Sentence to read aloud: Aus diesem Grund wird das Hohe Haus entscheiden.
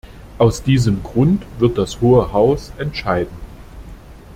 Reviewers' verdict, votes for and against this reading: accepted, 2, 0